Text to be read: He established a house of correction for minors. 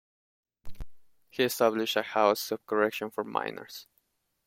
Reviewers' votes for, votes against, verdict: 2, 0, accepted